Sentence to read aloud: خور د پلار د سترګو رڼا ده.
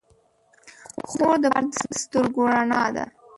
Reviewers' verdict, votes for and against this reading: rejected, 1, 2